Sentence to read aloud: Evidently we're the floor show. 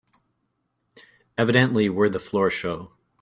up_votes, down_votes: 2, 0